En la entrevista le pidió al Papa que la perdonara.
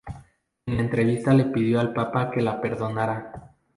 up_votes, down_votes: 2, 0